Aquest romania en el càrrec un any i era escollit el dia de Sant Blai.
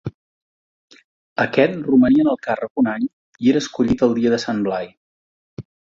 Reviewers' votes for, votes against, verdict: 2, 0, accepted